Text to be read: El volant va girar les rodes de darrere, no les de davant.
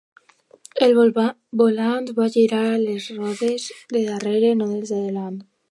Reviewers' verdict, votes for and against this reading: rejected, 0, 2